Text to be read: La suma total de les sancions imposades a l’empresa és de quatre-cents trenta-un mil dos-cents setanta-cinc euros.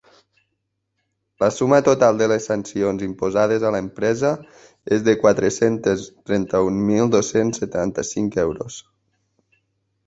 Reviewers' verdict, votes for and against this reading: rejected, 0, 2